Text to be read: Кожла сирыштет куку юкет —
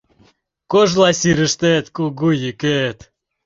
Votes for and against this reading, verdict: 0, 2, rejected